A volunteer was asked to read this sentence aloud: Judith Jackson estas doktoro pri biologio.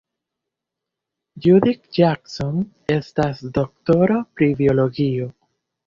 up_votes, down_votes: 1, 2